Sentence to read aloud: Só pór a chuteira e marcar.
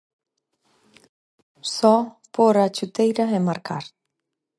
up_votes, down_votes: 4, 0